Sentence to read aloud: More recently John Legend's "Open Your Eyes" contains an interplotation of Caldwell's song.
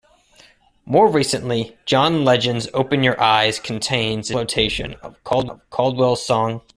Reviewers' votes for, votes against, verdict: 0, 2, rejected